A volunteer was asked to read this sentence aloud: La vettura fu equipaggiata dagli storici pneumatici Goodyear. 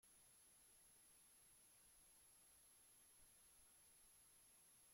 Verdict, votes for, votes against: rejected, 0, 2